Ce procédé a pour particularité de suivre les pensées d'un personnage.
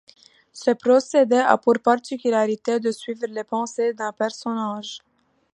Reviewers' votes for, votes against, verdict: 2, 0, accepted